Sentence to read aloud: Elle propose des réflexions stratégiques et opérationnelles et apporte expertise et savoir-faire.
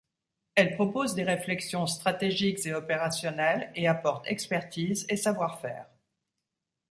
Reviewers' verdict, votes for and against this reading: accepted, 2, 0